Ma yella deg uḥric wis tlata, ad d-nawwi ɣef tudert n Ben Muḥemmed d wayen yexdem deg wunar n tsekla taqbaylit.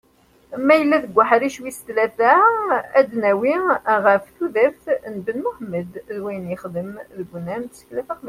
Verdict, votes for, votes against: rejected, 0, 2